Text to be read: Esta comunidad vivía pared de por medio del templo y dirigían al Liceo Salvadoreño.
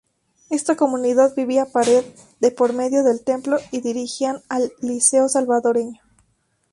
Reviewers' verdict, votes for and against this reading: rejected, 0, 2